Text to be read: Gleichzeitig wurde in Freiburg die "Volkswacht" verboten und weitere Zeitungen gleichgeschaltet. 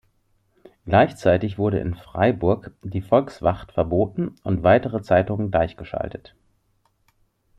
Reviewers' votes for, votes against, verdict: 2, 0, accepted